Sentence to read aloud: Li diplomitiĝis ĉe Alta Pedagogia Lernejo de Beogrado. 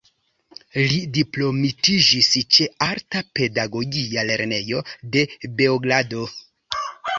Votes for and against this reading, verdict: 3, 1, accepted